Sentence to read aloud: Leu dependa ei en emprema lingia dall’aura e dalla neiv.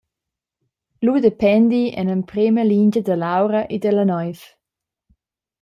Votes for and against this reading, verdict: 0, 2, rejected